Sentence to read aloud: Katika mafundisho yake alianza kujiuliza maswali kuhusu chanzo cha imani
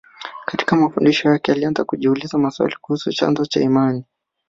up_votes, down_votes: 1, 2